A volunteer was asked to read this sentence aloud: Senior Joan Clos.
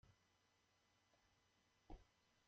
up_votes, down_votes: 0, 2